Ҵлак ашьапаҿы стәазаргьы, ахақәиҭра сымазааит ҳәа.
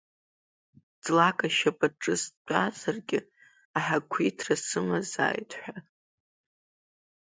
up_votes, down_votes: 0, 2